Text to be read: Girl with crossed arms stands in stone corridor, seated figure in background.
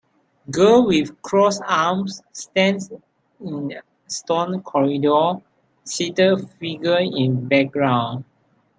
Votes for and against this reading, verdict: 2, 0, accepted